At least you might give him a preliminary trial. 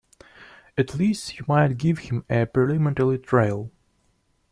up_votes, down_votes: 0, 2